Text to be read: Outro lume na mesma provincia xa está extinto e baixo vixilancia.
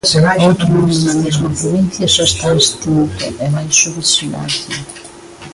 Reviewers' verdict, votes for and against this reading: rejected, 0, 2